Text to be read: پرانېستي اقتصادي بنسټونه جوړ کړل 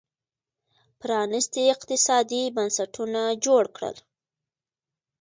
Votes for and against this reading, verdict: 2, 1, accepted